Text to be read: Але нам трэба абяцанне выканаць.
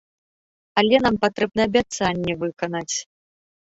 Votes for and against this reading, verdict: 0, 3, rejected